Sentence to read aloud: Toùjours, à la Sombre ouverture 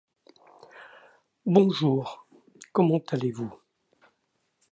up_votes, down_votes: 0, 2